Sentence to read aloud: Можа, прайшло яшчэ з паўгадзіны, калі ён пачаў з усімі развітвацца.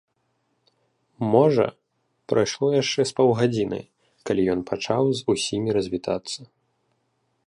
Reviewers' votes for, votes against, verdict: 0, 2, rejected